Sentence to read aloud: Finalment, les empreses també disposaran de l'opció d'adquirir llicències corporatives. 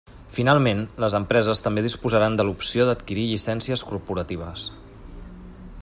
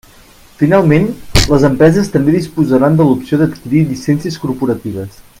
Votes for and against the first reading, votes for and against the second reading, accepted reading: 3, 0, 0, 2, first